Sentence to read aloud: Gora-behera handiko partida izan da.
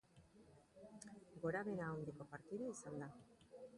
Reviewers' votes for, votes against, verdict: 2, 2, rejected